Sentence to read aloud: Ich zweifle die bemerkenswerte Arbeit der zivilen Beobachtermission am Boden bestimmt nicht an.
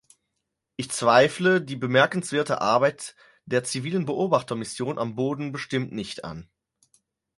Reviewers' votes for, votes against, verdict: 4, 2, accepted